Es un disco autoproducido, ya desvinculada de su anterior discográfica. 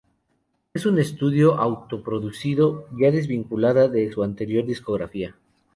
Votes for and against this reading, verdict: 0, 2, rejected